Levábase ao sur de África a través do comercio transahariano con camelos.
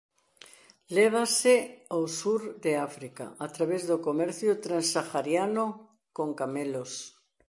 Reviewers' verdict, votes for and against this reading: rejected, 1, 2